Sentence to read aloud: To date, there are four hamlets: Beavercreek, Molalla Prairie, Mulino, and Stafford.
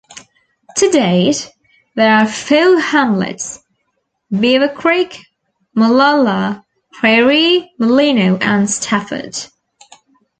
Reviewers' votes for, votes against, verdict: 1, 2, rejected